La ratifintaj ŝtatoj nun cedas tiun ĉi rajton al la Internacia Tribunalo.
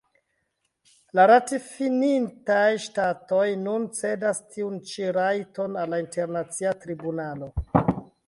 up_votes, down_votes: 1, 2